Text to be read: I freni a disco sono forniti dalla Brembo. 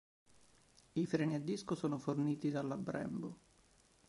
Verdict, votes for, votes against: accepted, 4, 0